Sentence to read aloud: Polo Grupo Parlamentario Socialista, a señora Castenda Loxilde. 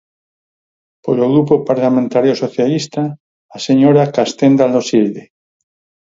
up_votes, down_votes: 4, 0